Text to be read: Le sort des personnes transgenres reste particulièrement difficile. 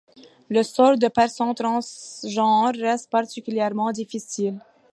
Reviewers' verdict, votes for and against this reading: accepted, 2, 0